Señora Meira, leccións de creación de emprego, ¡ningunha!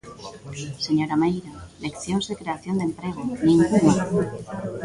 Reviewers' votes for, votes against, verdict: 1, 2, rejected